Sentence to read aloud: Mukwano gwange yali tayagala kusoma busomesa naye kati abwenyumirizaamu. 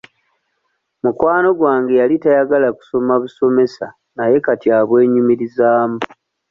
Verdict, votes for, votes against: accepted, 2, 0